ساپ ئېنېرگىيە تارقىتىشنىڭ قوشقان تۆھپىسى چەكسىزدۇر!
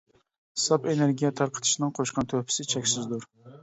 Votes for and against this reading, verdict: 2, 0, accepted